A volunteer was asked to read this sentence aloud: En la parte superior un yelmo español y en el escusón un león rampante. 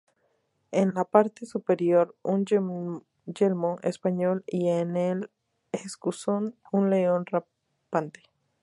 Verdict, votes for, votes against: accepted, 2, 0